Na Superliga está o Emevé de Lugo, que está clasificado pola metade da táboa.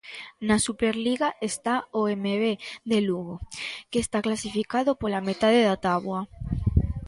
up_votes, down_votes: 2, 0